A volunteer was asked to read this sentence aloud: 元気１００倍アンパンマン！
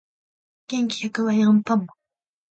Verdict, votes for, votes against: rejected, 0, 2